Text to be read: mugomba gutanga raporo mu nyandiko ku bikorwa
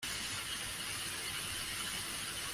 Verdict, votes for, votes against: rejected, 0, 3